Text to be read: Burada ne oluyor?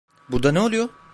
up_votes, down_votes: 0, 2